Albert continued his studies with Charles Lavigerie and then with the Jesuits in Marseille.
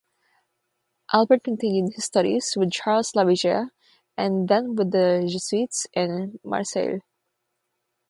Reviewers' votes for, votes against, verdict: 0, 3, rejected